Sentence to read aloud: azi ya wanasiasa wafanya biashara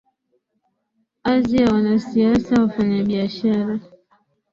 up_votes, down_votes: 2, 3